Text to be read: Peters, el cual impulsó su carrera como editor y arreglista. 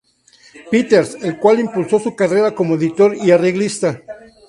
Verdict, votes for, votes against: accepted, 2, 0